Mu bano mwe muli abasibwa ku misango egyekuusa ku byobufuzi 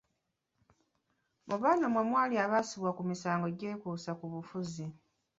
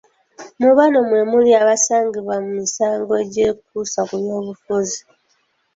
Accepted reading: second